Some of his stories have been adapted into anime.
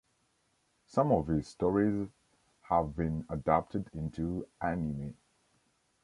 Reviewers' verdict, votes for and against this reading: accepted, 2, 0